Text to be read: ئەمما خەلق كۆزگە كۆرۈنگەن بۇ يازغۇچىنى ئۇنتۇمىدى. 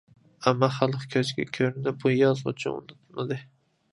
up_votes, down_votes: 0, 2